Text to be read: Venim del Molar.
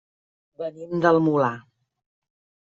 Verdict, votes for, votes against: accepted, 2, 0